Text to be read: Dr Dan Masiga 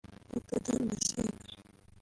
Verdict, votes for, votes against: rejected, 0, 2